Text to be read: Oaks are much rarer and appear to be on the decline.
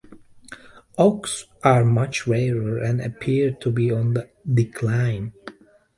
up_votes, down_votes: 2, 1